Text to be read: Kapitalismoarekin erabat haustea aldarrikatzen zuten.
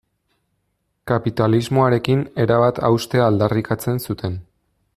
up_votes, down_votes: 2, 0